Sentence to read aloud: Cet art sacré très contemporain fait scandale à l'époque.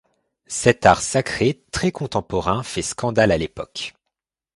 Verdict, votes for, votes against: accepted, 2, 0